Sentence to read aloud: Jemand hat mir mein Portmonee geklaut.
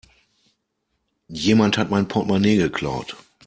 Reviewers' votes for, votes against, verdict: 0, 2, rejected